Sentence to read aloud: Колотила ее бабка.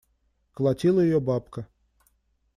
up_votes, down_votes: 2, 0